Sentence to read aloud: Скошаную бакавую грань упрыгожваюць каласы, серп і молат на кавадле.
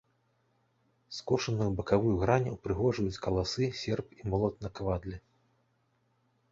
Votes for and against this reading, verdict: 2, 0, accepted